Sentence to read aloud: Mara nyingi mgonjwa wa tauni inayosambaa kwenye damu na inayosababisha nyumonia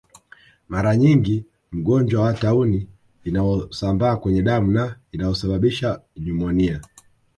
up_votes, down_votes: 0, 2